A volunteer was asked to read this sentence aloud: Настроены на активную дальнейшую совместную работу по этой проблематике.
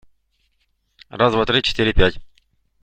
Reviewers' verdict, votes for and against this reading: rejected, 0, 2